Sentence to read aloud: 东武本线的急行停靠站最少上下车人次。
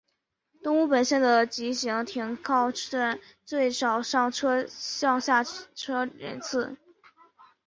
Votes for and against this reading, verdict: 1, 2, rejected